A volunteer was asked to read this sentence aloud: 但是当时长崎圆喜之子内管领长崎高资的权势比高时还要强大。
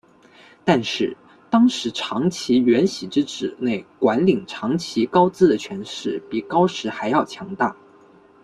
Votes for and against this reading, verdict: 1, 2, rejected